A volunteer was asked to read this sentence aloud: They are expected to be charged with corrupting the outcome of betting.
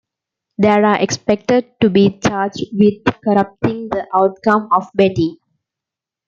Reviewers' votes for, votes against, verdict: 2, 0, accepted